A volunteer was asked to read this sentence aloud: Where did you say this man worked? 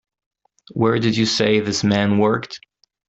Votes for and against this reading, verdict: 2, 0, accepted